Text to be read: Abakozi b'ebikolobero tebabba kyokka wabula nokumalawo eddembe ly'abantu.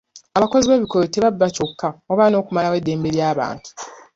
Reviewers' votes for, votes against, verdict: 2, 0, accepted